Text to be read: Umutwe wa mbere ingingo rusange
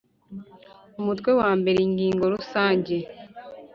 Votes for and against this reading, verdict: 2, 0, accepted